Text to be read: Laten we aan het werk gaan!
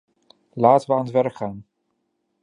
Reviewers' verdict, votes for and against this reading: accepted, 2, 0